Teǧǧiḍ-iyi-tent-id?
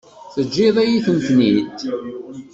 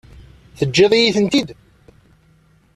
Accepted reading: second